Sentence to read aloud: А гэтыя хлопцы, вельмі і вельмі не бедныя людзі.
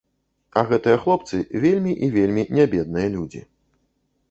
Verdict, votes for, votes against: accepted, 2, 0